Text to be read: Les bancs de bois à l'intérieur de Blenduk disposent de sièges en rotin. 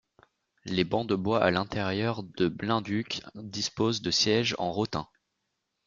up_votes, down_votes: 2, 0